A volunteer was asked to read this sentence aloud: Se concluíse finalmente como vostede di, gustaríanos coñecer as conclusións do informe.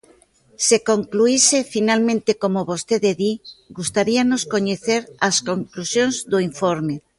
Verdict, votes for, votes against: accepted, 2, 0